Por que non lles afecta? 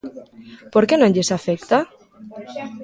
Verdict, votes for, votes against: rejected, 1, 2